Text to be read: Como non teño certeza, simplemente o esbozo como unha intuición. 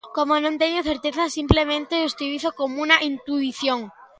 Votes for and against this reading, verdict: 0, 2, rejected